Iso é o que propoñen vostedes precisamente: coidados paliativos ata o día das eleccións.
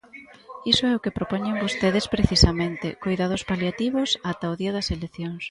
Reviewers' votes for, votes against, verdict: 2, 0, accepted